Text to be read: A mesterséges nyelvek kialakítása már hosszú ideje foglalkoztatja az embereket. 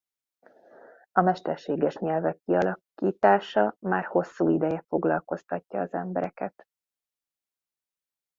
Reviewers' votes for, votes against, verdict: 1, 2, rejected